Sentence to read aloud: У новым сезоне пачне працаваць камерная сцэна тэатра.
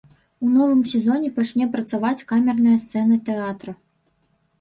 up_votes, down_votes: 3, 0